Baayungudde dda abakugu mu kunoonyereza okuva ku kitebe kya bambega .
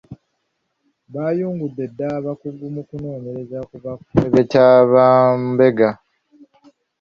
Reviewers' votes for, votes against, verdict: 0, 2, rejected